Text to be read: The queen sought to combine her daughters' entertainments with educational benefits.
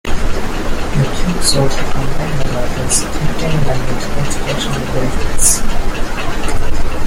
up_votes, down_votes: 1, 2